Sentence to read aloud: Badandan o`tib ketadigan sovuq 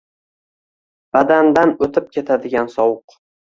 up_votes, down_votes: 2, 0